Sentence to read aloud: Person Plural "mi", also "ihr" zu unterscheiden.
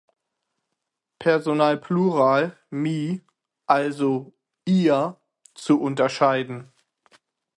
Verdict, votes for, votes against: rejected, 0, 6